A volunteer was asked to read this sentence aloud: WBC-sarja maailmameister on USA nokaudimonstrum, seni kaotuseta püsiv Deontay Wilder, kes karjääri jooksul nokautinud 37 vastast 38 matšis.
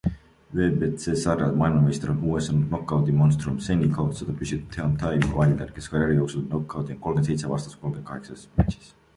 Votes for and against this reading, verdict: 0, 2, rejected